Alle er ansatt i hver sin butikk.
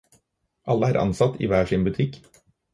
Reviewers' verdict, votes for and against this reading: accepted, 4, 0